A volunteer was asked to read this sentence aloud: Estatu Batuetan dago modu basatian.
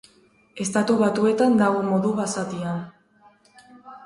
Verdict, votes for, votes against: rejected, 2, 4